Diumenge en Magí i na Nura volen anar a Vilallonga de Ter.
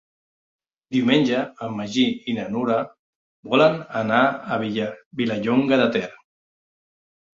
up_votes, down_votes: 0, 2